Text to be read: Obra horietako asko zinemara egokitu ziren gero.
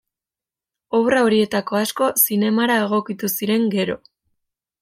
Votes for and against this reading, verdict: 2, 0, accepted